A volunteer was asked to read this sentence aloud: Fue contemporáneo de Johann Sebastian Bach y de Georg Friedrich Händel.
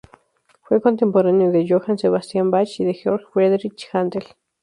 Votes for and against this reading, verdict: 0, 2, rejected